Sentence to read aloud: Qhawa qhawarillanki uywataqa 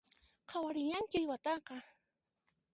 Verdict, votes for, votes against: rejected, 1, 2